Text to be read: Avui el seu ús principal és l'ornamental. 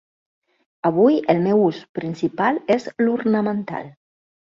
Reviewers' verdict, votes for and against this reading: rejected, 0, 2